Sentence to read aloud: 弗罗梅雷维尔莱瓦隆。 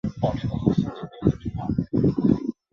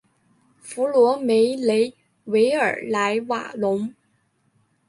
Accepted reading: second